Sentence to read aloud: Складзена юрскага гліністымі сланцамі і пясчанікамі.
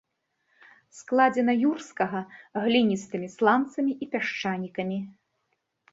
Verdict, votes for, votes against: accepted, 3, 0